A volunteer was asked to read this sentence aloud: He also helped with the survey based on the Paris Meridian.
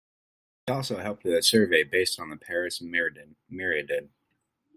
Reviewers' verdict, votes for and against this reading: rejected, 0, 2